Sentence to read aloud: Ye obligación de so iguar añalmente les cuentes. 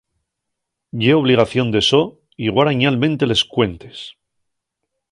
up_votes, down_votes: 1, 2